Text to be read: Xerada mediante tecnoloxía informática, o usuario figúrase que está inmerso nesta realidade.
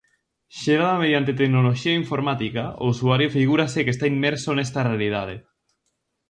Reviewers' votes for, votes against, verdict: 2, 0, accepted